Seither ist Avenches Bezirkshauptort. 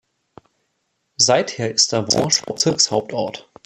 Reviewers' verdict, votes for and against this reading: rejected, 0, 2